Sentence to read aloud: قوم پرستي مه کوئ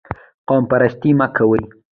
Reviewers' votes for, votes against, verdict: 2, 0, accepted